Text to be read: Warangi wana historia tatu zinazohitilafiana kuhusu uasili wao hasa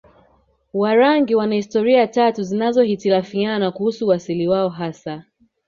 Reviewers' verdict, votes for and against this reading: accepted, 3, 0